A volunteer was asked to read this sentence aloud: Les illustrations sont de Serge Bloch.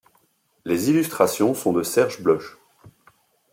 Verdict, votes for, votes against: accepted, 2, 0